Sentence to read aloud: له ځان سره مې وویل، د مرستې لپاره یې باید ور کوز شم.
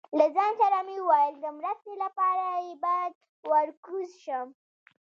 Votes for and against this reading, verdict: 1, 2, rejected